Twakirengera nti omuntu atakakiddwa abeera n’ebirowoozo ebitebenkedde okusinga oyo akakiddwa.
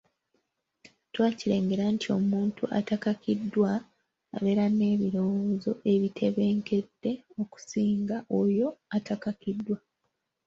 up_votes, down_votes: 0, 3